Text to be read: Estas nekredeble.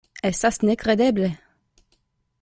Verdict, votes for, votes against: accepted, 2, 1